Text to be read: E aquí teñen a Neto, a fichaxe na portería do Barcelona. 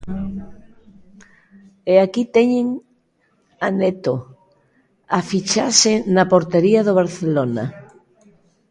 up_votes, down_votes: 2, 0